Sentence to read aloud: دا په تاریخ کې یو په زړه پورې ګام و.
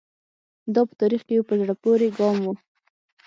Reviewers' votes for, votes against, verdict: 6, 0, accepted